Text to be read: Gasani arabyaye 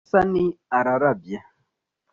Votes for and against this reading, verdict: 1, 2, rejected